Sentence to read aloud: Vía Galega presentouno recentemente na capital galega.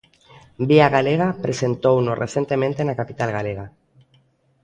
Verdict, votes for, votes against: accepted, 2, 0